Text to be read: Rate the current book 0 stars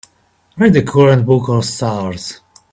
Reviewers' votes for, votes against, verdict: 0, 2, rejected